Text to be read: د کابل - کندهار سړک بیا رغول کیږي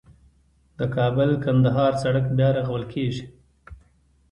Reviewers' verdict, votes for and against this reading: accepted, 2, 0